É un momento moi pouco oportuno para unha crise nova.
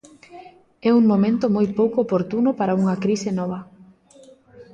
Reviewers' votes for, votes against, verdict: 2, 0, accepted